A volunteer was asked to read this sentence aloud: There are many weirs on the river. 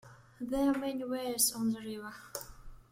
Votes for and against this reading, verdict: 2, 0, accepted